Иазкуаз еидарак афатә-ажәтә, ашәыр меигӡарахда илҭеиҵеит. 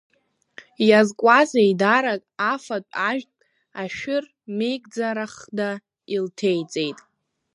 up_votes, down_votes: 1, 2